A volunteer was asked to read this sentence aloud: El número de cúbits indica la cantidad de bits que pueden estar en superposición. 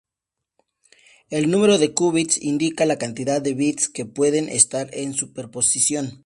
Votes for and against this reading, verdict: 2, 0, accepted